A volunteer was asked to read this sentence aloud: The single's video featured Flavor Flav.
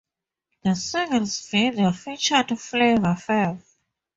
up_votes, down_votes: 0, 2